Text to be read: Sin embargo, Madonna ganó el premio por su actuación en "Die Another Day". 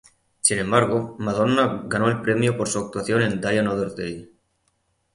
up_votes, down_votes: 0, 3